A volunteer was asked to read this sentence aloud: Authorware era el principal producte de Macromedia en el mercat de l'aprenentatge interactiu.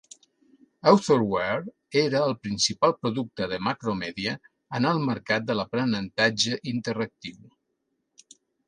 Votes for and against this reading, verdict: 2, 0, accepted